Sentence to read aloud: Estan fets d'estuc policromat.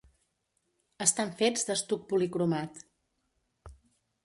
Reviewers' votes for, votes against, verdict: 2, 0, accepted